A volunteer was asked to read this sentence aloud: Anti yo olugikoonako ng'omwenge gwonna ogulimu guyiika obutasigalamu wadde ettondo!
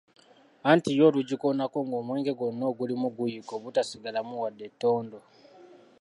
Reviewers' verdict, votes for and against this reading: accepted, 2, 1